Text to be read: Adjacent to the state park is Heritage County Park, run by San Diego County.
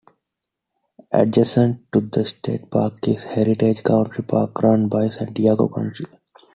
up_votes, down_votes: 1, 2